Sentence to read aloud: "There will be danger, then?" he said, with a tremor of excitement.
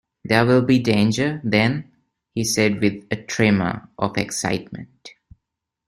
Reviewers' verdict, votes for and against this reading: accepted, 2, 0